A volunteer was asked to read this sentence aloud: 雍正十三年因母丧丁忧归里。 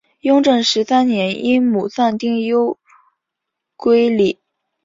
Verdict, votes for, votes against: accepted, 3, 1